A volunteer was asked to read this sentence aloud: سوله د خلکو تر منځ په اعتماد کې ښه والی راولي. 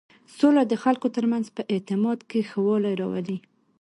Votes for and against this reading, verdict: 2, 0, accepted